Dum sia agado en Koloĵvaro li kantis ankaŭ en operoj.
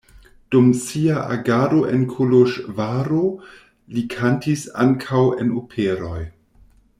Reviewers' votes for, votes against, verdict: 2, 0, accepted